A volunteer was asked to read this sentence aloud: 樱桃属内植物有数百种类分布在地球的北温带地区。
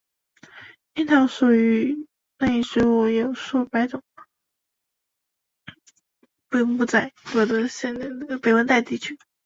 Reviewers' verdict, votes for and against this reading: rejected, 1, 2